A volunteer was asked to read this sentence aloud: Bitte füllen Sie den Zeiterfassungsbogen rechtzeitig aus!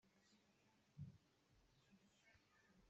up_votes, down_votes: 0, 2